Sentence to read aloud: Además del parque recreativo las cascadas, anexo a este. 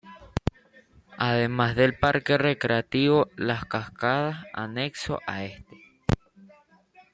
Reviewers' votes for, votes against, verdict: 1, 2, rejected